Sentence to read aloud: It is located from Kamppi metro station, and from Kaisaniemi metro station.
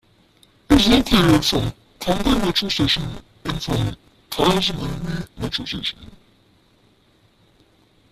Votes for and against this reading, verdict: 1, 2, rejected